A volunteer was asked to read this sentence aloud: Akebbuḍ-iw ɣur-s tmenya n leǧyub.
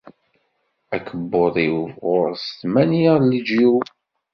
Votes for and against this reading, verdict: 2, 0, accepted